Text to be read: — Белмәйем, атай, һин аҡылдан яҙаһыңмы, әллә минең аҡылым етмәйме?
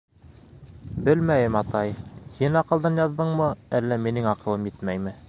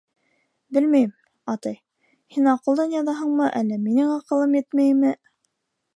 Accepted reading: second